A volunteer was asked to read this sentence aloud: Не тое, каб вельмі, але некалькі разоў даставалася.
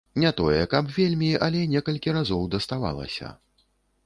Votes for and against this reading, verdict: 2, 0, accepted